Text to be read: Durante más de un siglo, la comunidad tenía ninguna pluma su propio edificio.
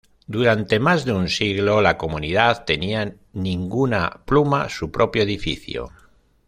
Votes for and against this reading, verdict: 1, 2, rejected